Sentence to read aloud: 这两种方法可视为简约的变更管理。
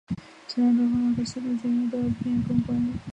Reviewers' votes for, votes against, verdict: 1, 2, rejected